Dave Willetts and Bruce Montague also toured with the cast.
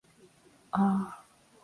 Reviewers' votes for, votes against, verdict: 0, 2, rejected